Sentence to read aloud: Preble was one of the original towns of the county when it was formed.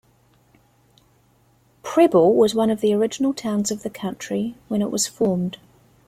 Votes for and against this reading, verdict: 1, 2, rejected